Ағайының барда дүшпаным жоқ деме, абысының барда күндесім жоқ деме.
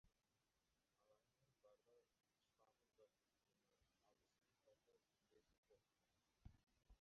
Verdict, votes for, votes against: rejected, 0, 2